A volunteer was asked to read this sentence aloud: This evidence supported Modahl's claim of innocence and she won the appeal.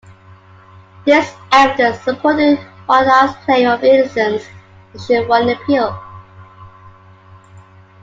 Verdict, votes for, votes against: rejected, 1, 2